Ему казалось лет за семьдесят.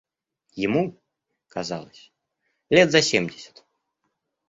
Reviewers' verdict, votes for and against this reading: accepted, 2, 0